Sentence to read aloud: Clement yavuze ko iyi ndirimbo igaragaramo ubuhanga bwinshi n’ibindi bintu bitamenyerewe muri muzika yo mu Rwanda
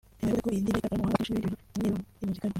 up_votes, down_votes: 0, 2